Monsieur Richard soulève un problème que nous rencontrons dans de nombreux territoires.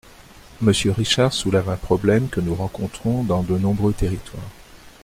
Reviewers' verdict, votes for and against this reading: accepted, 2, 0